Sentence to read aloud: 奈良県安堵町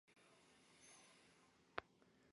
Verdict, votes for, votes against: rejected, 1, 2